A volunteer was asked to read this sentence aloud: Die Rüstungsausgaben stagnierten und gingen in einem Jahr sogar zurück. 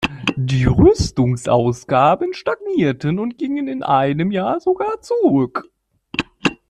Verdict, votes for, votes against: rejected, 1, 2